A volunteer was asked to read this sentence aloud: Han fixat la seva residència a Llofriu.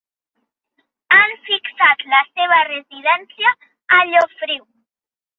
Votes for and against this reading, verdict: 4, 0, accepted